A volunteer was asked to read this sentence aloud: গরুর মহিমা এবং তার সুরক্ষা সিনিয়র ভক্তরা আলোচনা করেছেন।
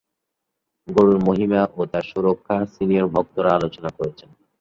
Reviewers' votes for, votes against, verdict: 2, 1, accepted